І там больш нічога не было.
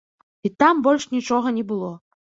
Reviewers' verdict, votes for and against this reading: accepted, 2, 0